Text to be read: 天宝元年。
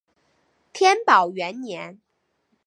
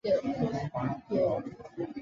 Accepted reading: first